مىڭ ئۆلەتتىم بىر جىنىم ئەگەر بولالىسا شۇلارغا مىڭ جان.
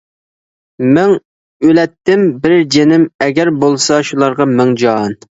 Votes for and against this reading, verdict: 0, 2, rejected